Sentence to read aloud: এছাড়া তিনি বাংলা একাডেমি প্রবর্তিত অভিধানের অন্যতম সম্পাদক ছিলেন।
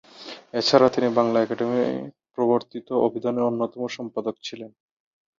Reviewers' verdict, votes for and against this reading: accepted, 16, 6